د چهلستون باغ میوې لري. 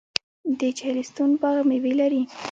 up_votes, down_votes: 1, 2